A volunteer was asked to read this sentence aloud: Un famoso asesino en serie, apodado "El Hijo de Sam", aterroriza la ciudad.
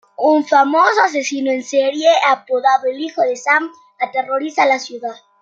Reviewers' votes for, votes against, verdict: 2, 0, accepted